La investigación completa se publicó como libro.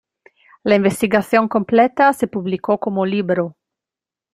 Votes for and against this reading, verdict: 2, 1, accepted